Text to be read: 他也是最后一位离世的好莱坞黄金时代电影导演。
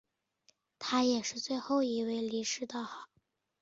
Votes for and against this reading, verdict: 0, 2, rejected